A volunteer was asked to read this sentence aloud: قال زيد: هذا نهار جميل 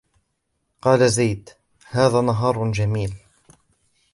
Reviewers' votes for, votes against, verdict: 2, 0, accepted